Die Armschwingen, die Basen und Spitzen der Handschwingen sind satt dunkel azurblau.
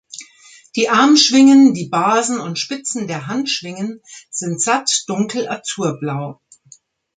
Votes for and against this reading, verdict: 3, 0, accepted